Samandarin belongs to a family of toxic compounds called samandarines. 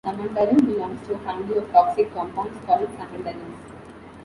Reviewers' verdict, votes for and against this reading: rejected, 1, 2